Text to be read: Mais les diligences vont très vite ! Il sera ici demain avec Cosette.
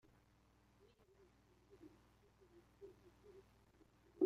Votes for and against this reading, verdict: 0, 2, rejected